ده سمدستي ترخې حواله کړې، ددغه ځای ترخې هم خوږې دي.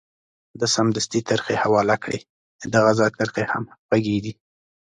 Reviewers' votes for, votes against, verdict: 2, 0, accepted